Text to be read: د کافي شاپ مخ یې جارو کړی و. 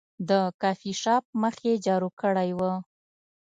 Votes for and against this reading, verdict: 2, 0, accepted